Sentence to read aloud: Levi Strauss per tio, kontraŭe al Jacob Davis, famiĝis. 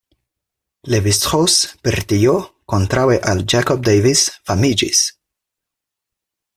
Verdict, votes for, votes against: rejected, 2, 4